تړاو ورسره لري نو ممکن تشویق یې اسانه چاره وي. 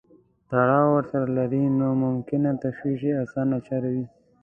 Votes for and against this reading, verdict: 2, 0, accepted